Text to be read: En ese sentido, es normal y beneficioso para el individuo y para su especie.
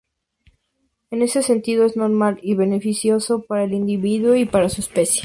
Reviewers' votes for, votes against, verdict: 2, 0, accepted